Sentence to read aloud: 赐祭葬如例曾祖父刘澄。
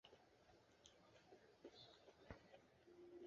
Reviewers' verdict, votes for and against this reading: rejected, 0, 3